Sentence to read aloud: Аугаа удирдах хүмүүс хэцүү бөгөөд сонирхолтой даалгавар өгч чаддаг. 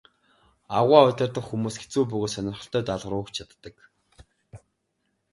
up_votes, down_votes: 2, 0